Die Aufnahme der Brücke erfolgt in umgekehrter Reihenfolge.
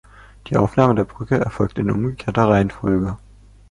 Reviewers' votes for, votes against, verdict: 2, 0, accepted